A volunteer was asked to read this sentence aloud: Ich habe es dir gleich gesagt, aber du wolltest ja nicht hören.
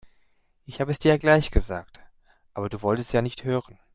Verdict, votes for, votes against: rejected, 1, 2